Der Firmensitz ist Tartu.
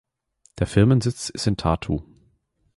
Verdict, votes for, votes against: rejected, 1, 2